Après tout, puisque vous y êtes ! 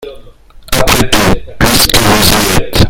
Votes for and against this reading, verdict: 0, 2, rejected